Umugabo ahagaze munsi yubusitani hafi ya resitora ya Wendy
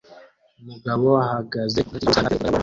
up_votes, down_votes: 0, 2